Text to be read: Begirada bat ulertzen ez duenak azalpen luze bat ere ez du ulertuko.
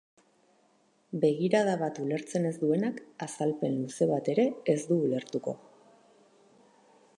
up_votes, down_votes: 4, 0